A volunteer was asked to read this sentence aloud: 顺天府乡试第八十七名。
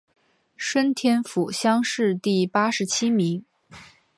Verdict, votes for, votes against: accepted, 2, 0